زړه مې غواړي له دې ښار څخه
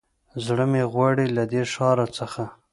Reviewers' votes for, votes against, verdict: 1, 2, rejected